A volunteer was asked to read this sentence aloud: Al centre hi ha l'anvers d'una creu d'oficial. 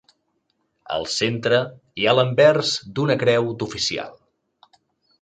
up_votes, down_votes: 2, 0